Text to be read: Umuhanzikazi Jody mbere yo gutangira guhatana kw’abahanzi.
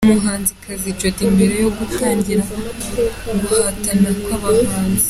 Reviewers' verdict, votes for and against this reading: accepted, 2, 0